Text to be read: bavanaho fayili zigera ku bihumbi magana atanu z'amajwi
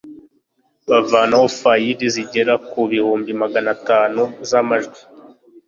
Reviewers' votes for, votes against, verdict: 2, 0, accepted